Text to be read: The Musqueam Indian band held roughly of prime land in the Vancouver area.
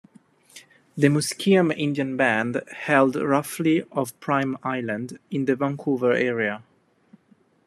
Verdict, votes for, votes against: rejected, 1, 2